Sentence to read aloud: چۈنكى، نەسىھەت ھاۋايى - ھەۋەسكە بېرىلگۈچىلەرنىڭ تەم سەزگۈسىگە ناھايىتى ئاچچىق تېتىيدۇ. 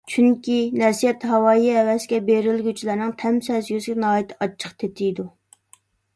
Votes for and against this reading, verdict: 2, 0, accepted